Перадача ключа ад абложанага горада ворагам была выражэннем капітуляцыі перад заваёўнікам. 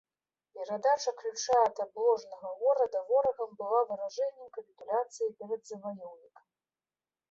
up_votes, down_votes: 2, 0